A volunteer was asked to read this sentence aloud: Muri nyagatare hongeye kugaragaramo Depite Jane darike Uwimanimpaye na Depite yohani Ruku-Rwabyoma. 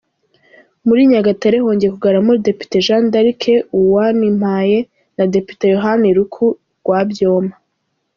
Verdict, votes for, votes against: rejected, 1, 2